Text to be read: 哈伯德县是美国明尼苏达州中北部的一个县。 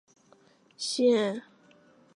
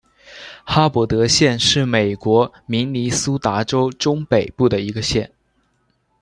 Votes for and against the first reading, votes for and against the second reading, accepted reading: 0, 2, 2, 0, second